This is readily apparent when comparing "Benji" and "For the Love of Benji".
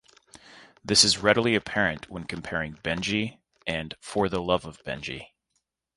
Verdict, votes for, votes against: accepted, 2, 0